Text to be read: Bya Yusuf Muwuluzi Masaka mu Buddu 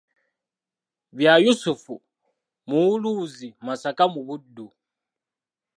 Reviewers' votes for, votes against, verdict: 2, 1, accepted